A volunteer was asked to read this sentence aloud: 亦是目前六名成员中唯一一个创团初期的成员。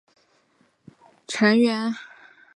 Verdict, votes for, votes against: rejected, 0, 2